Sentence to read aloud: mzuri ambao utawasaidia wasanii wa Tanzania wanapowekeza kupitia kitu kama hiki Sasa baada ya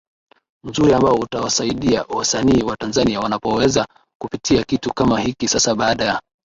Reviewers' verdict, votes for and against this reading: accepted, 2, 0